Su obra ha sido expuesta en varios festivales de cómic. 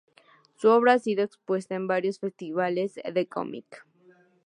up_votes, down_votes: 8, 0